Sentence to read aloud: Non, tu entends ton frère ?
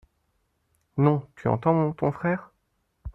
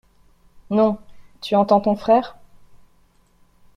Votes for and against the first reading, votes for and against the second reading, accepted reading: 1, 2, 2, 0, second